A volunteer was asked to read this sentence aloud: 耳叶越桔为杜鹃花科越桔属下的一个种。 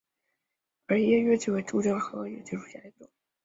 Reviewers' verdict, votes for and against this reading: rejected, 0, 2